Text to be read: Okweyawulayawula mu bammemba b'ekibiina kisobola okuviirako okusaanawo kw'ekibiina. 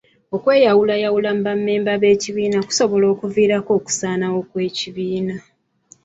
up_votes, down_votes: 1, 2